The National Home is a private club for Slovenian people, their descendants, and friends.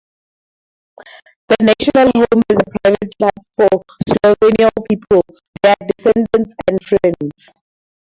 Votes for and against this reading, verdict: 0, 2, rejected